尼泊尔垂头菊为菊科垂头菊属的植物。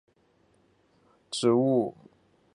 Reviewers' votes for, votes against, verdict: 3, 4, rejected